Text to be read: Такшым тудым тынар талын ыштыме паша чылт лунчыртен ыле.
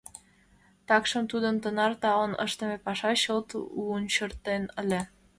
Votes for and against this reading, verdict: 2, 0, accepted